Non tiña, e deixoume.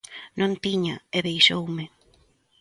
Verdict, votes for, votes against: accepted, 2, 0